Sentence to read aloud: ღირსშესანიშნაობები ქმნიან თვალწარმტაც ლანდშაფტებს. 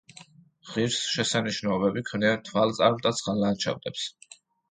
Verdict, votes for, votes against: rejected, 1, 2